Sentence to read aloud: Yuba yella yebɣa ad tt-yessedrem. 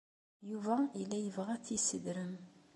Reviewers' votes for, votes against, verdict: 2, 0, accepted